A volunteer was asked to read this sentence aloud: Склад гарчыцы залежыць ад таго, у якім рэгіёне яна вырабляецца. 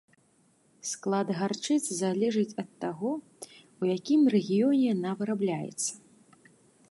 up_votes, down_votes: 2, 0